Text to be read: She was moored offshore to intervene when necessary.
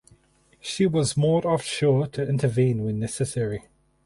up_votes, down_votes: 4, 0